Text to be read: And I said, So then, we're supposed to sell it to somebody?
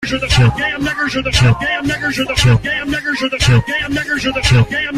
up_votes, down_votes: 0, 2